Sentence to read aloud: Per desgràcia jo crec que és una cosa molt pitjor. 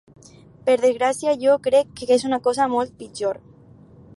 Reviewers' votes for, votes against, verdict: 4, 0, accepted